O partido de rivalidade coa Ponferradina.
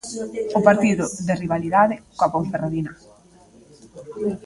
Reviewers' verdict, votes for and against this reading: accepted, 2, 1